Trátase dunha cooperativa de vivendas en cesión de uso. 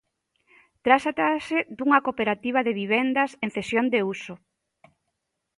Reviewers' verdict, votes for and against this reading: rejected, 0, 2